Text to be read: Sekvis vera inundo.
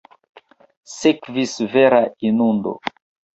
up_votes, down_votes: 2, 0